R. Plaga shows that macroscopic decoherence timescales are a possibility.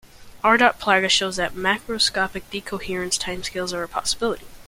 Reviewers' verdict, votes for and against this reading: accepted, 2, 0